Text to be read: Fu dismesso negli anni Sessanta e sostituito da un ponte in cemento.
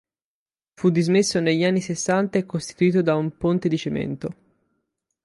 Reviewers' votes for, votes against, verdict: 0, 4, rejected